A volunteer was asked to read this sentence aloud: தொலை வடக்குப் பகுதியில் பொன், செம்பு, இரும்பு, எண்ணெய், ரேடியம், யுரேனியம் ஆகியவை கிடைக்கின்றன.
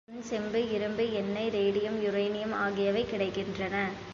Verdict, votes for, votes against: rejected, 2, 3